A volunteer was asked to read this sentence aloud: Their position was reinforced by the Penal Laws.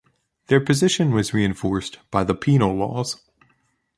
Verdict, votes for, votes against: accepted, 2, 0